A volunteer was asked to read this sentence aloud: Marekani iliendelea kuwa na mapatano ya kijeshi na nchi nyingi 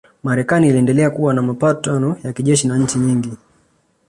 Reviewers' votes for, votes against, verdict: 2, 0, accepted